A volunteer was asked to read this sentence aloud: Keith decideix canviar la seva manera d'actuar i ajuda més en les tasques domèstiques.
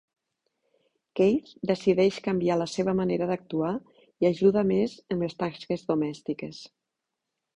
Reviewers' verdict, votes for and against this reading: accepted, 2, 0